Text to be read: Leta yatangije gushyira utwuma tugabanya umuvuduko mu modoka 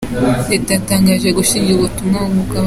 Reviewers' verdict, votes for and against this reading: rejected, 0, 2